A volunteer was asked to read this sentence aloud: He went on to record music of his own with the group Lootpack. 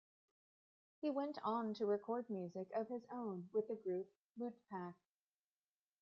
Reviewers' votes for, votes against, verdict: 2, 0, accepted